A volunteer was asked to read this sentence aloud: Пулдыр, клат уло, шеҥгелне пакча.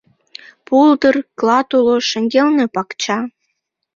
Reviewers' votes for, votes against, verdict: 2, 1, accepted